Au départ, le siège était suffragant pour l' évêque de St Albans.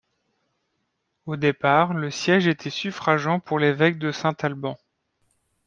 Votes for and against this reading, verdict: 1, 2, rejected